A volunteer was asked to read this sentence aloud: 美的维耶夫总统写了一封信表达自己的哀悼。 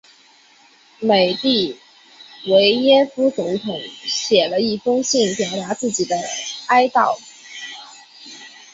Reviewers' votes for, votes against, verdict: 2, 0, accepted